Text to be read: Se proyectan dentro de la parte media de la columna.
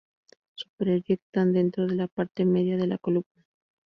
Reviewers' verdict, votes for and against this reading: rejected, 0, 2